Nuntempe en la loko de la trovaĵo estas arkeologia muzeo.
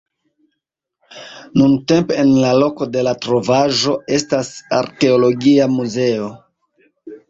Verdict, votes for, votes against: accepted, 2, 0